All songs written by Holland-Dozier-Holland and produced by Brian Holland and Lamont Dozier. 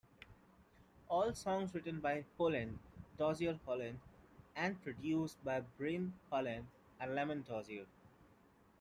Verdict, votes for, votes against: accepted, 2, 0